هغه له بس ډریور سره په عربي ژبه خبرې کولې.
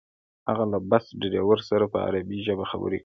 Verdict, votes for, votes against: accepted, 2, 0